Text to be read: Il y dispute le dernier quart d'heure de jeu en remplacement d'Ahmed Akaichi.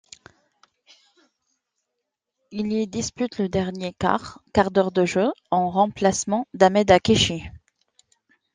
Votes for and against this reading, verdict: 0, 2, rejected